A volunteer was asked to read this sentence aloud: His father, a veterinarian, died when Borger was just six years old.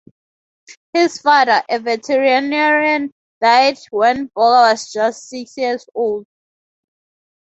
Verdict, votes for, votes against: accepted, 2, 0